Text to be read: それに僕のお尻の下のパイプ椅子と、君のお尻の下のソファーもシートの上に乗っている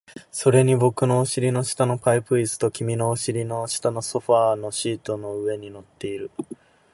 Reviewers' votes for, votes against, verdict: 2, 0, accepted